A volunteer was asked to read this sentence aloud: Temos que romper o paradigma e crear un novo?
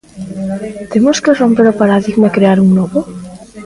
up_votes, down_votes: 0, 2